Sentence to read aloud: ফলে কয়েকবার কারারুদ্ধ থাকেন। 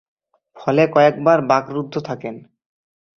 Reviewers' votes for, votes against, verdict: 0, 2, rejected